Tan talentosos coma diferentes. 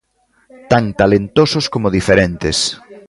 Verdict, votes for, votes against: rejected, 0, 2